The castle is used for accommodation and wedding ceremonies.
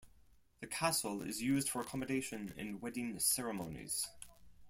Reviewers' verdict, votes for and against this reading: accepted, 4, 0